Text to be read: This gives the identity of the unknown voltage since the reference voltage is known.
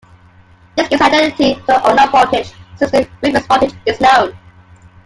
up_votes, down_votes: 0, 2